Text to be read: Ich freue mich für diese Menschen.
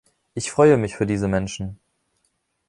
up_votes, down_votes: 2, 0